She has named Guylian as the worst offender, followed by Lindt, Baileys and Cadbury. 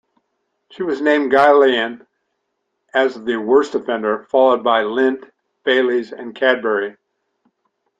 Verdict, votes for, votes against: rejected, 1, 2